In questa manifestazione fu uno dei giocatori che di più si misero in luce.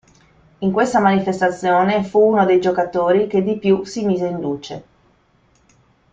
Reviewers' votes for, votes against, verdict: 0, 2, rejected